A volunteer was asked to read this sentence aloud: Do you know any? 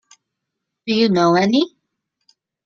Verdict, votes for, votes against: accepted, 2, 0